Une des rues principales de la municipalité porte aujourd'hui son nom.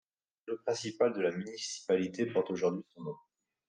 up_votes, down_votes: 1, 2